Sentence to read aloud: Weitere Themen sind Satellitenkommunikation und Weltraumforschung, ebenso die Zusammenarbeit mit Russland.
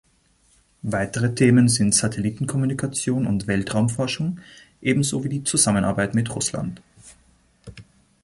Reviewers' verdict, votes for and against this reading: rejected, 2, 3